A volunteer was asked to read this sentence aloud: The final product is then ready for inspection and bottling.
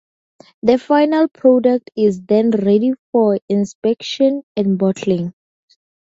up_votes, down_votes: 4, 0